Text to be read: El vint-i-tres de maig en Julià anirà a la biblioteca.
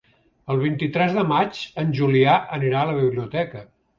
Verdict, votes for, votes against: accepted, 3, 0